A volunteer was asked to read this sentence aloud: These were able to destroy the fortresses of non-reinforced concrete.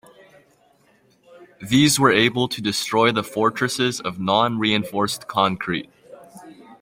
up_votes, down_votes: 2, 1